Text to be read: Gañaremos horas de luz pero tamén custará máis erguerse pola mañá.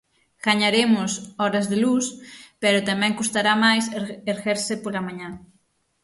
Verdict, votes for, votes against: rejected, 0, 6